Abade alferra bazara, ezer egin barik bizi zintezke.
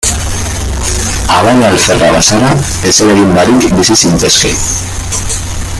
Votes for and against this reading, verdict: 0, 2, rejected